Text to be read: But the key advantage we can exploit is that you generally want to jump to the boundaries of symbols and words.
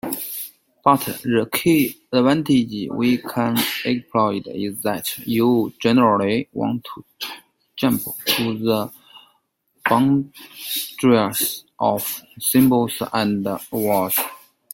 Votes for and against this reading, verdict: 1, 2, rejected